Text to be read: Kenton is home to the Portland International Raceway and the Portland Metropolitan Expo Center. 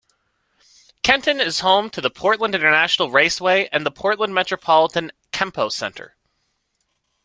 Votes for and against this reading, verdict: 0, 2, rejected